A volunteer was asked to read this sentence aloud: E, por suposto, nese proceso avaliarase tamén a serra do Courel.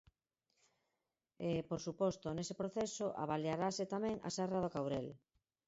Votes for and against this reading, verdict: 4, 2, accepted